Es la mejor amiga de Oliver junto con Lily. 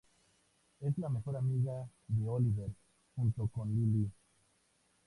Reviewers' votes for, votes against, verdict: 2, 0, accepted